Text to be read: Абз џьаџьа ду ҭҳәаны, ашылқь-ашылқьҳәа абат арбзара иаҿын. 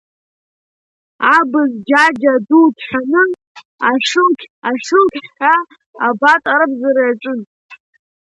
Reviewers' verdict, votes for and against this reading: accepted, 2, 0